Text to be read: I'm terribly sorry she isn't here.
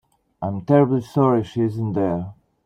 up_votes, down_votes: 2, 1